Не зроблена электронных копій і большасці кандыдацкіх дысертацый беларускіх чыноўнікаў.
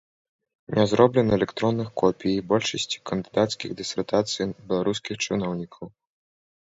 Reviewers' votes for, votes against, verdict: 1, 2, rejected